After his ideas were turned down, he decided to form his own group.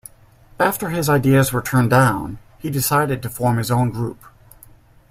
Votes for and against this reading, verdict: 2, 0, accepted